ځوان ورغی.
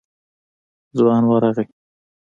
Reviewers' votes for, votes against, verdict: 2, 0, accepted